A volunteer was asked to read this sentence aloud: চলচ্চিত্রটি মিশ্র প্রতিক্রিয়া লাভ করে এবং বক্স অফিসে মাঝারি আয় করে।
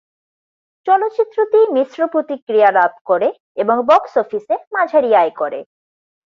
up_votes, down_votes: 4, 0